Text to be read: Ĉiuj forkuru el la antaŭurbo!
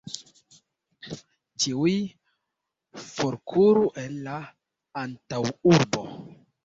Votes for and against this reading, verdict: 2, 1, accepted